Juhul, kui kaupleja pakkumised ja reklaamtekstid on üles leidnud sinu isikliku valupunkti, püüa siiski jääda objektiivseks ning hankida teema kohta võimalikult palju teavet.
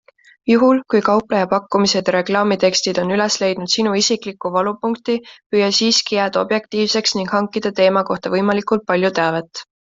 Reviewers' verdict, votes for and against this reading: accepted, 2, 0